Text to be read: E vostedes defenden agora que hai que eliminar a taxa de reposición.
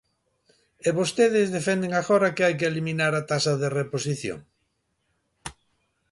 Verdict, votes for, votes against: accepted, 2, 0